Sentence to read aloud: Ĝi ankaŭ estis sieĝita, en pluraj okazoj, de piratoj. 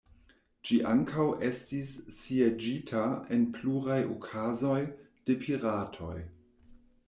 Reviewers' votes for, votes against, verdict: 2, 0, accepted